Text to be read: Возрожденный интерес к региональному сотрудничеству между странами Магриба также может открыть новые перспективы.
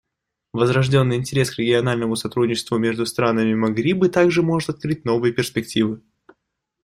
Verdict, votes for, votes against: accepted, 2, 0